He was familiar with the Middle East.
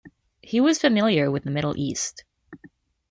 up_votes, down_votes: 2, 0